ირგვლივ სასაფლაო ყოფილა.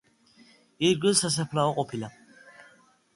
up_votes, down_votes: 2, 0